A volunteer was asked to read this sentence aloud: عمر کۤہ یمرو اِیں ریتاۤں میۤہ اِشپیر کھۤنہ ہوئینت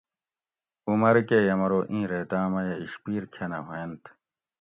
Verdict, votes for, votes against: accepted, 2, 0